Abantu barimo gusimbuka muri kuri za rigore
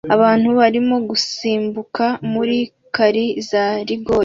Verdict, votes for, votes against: rejected, 1, 2